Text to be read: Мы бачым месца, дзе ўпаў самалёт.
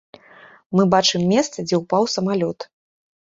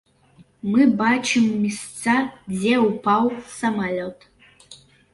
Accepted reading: first